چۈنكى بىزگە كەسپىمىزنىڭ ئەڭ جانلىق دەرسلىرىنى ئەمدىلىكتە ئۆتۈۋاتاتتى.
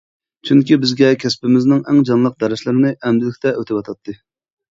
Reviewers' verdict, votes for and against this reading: accepted, 2, 0